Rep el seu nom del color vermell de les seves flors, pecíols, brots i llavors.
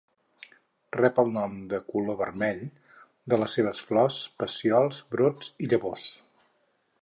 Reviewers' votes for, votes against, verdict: 0, 4, rejected